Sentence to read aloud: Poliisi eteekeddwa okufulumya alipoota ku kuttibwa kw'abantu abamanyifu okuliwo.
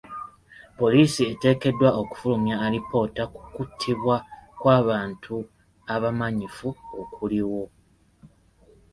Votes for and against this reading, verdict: 2, 0, accepted